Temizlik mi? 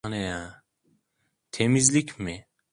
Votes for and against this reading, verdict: 0, 2, rejected